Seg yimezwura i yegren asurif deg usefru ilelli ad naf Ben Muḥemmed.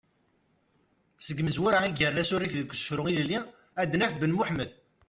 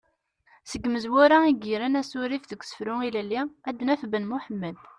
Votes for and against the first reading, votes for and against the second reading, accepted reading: 1, 2, 2, 0, second